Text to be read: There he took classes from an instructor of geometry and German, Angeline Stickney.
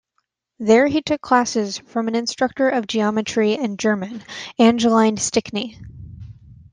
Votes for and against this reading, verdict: 2, 0, accepted